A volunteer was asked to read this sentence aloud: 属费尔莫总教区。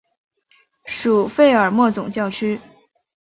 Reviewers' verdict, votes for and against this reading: accepted, 2, 1